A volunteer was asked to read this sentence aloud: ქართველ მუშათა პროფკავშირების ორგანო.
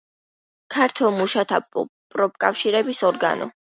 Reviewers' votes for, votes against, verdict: 2, 0, accepted